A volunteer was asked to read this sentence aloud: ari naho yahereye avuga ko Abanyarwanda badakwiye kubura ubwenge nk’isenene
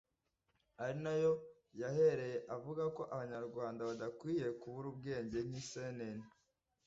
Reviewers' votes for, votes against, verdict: 1, 2, rejected